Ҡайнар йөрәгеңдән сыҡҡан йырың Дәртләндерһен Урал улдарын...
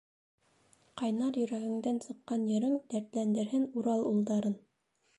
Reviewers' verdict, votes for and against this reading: accepted, 2, 0